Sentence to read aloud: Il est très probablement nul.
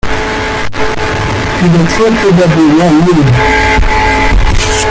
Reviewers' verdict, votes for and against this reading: rejected, 0, 2